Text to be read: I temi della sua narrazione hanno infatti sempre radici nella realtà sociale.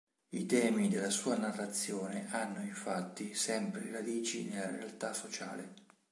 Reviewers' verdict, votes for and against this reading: accepted, 2, 0